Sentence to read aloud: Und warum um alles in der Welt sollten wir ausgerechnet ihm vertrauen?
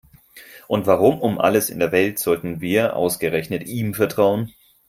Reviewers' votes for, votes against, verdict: 4, 0, accepted